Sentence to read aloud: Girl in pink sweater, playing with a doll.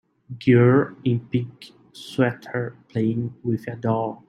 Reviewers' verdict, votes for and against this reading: accepted, 2, 1